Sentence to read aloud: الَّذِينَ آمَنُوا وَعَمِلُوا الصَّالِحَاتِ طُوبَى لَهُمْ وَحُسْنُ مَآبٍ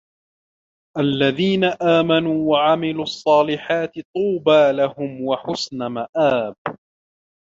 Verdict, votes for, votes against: rejected, 1, 2